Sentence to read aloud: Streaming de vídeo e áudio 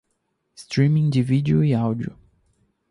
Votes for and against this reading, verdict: 2, 0, accepted